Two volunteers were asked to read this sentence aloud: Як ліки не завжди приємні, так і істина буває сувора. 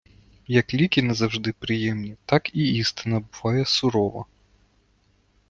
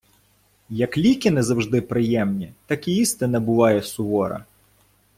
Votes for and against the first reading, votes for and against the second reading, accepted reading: 0, 2, 2, 0, second